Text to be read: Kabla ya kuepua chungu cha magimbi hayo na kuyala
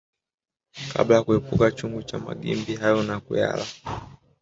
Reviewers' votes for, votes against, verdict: 2, 0, accepted